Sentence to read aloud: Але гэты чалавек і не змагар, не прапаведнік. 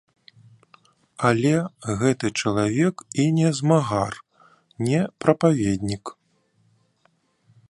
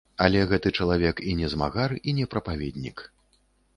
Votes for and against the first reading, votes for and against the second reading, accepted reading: 2, 0, 1, 2, first